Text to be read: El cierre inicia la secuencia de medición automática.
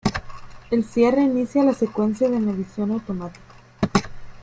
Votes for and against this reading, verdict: 3, 2, accepted